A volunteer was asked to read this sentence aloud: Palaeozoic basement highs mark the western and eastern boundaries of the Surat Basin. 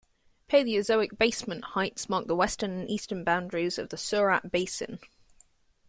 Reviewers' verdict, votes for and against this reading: accepted, 2, 0